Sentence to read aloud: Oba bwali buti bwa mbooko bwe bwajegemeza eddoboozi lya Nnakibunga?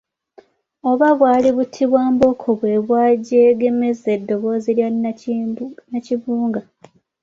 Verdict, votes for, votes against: accepted, 2, 1